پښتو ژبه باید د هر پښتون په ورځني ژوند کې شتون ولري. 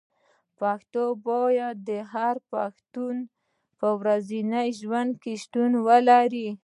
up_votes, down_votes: 0, 2